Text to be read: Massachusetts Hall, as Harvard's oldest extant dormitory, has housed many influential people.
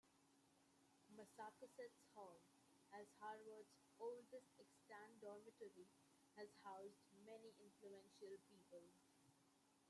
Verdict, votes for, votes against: rejected, 0, 2